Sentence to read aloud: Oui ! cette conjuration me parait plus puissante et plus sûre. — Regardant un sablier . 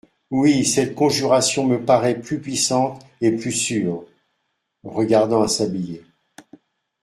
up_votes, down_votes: 2, 0